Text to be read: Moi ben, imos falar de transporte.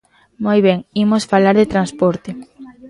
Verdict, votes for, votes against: rejected, 1, 2